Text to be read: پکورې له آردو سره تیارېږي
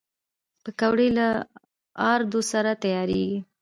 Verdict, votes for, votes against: accepted, 2, 0